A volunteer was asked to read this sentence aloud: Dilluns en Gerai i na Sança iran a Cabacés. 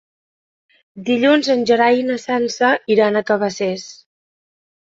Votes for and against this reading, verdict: 2, 0, accepted